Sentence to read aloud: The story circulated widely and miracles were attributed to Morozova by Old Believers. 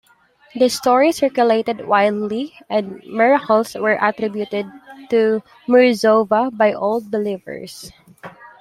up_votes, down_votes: 1, 2